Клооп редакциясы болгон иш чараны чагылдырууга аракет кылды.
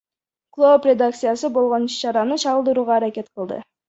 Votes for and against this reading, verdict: 0, 2, rejected